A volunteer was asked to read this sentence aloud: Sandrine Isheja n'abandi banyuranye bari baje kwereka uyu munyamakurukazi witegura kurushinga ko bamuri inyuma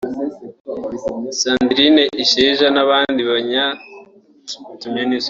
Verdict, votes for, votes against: rejected, 0, 2